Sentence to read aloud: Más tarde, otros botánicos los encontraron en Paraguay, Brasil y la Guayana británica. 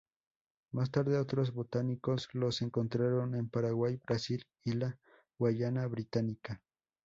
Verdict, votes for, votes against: accepted, 6, 2